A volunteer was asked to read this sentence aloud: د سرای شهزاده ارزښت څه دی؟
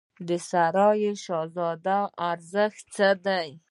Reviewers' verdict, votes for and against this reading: accepted, 2, 0